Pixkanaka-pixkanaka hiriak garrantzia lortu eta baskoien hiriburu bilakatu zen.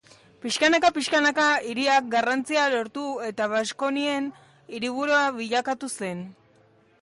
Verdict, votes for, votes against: rejected, 0, 2